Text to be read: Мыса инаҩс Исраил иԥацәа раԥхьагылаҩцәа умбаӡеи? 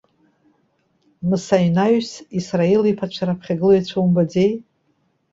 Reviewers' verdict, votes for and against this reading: accepted, 2, 0